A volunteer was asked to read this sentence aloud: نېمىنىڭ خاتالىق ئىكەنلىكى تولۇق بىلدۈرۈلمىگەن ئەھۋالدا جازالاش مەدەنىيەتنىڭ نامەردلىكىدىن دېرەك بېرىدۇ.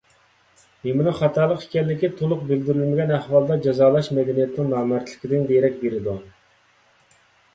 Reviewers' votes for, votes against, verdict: 2, 0, accepted